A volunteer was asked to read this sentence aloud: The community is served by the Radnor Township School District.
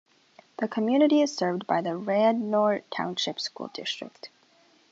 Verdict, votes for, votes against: accepted, 2, 0